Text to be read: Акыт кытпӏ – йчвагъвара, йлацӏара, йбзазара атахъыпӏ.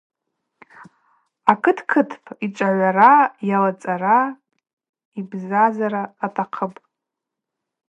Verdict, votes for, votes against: accepted, 4, 0